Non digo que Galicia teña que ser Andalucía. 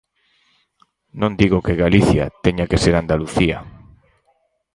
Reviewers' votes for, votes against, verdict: 2, 4, rejected